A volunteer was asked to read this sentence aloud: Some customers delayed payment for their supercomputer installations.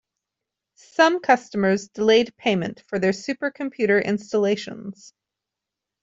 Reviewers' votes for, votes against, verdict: 2, 0, accepted